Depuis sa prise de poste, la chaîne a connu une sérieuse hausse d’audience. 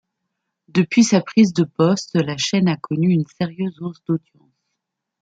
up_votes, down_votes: 2, 1